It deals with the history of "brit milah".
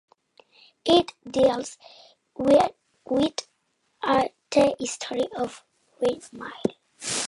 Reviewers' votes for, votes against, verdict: 0, 2, rejected